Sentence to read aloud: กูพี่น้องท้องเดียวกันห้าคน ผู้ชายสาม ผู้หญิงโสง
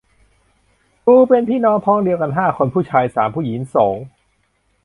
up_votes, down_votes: 0, 2